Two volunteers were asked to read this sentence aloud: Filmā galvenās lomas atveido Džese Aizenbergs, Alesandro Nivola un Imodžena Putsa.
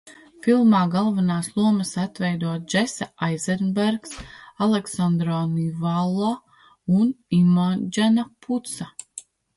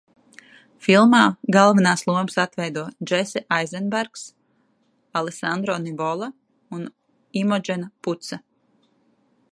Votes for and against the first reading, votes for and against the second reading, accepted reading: 1, 2, 2, 0, second